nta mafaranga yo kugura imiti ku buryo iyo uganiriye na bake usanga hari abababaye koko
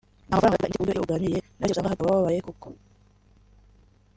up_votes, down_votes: 1, 3